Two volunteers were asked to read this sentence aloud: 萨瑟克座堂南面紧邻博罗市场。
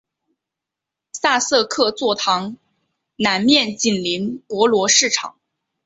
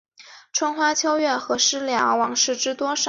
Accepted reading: first